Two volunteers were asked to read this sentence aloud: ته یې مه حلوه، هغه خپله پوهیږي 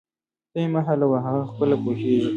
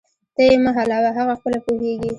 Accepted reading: first